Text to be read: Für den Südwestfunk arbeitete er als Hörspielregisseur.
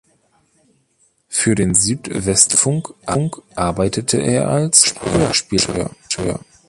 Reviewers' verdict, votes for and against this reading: rejected, 0, 2